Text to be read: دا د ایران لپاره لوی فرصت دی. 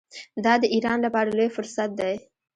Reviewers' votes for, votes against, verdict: 1, 2, rejected